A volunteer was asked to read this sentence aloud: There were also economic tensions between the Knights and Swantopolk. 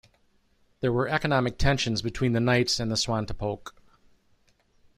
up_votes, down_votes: 1, 2